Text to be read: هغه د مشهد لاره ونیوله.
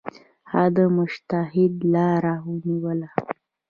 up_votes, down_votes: 1, 2